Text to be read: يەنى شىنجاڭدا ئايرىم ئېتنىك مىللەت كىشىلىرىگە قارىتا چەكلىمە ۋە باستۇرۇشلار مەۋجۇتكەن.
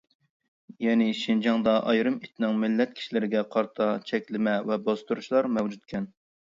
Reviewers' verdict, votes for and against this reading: rejected, 0, 2